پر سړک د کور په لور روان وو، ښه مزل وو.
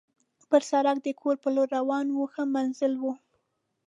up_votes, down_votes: 2, 0